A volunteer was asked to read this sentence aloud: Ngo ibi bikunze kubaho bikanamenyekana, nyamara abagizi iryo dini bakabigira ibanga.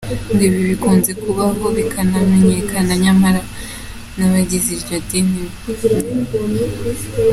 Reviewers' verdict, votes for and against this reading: accepted, 2, 1